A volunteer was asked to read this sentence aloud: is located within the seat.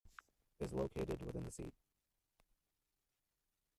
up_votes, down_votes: 1, 2